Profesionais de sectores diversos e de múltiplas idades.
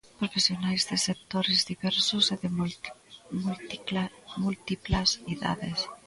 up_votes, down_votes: 0, 3